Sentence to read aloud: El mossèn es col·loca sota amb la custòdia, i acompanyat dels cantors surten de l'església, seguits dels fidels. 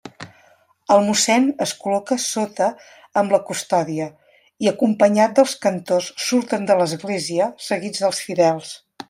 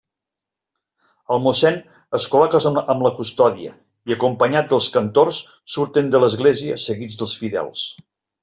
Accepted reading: first